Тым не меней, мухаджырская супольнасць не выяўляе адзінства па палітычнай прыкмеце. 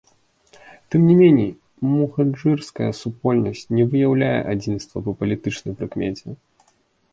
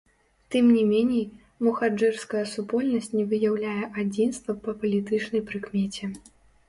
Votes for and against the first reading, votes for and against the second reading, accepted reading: 3, 0, 1, 2, first